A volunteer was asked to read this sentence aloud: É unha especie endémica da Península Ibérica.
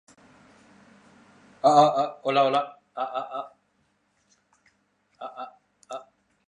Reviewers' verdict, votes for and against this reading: rejected, 0, 2